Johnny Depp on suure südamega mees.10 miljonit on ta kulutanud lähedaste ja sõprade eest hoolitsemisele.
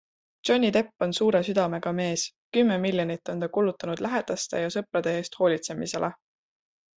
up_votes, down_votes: 0, 2